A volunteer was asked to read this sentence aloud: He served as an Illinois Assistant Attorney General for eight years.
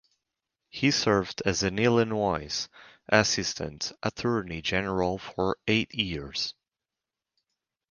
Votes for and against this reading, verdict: 0, 4, rejected